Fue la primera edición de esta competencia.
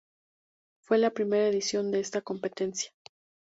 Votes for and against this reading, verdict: 2, 0, accepted